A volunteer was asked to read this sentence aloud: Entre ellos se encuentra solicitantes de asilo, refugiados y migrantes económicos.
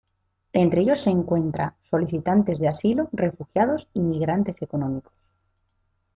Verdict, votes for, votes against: accepted, 2, 0